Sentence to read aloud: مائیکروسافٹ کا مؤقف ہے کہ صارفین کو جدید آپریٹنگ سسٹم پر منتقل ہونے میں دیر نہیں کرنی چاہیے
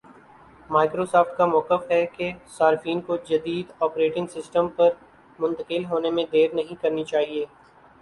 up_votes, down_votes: 2, 0